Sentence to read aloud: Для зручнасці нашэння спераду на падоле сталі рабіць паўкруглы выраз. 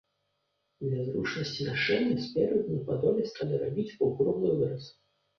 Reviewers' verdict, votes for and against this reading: accepted, 2, 0